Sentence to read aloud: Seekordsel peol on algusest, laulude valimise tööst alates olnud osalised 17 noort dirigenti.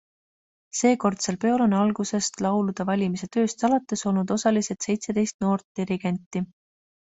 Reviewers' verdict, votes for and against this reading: rejected, 0, 2